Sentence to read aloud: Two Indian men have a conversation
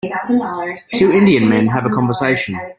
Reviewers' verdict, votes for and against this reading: rejected, 0, 2